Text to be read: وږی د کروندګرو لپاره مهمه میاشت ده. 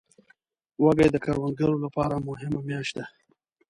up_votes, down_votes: 2, 0